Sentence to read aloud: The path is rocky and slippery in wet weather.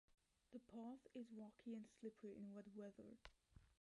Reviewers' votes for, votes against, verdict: 0, 2, rejected